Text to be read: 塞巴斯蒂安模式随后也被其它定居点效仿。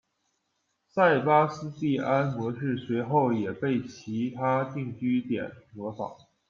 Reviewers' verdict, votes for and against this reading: rejected, 0, 2